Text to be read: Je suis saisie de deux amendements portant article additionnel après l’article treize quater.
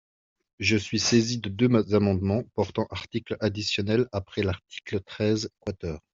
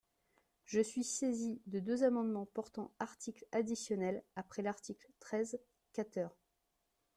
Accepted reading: second